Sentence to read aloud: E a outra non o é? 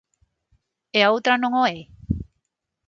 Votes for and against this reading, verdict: 9, 0, accepted